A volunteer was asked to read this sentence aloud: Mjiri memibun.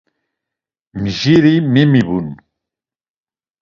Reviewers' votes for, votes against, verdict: 2, 0, accepted